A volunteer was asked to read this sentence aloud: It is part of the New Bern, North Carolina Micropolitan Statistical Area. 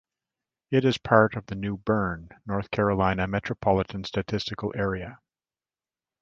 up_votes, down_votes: 1, 2